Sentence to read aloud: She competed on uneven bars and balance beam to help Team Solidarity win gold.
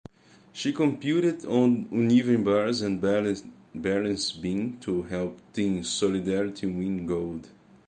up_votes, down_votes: 0, 2